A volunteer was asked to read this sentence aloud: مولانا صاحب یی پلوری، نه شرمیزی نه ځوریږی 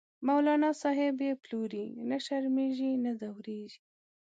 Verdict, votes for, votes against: rejected, 1, 2